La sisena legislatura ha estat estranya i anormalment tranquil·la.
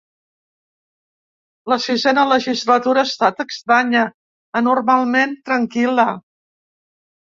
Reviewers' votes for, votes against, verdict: 0, 2, rejected